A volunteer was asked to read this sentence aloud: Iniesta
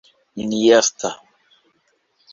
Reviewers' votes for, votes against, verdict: 1, 2, rejected